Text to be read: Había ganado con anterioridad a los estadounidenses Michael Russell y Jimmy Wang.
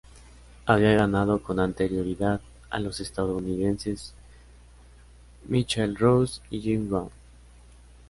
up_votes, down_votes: 3, 0